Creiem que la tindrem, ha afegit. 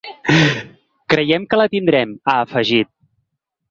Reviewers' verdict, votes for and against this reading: accepted, 2, 0